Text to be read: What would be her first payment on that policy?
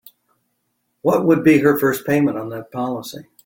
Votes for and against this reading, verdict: 2, 0, accepted